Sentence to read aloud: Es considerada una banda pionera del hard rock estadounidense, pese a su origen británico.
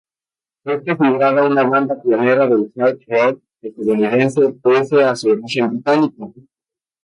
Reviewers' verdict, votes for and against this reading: rejected, 0, 2